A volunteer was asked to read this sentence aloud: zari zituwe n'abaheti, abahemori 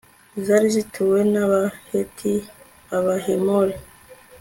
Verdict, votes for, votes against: accepted, 2, 0